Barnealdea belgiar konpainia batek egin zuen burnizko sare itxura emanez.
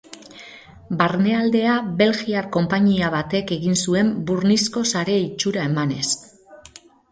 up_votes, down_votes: 2, 2